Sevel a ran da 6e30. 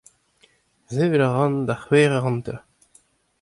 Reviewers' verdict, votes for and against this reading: rejected, 0, 2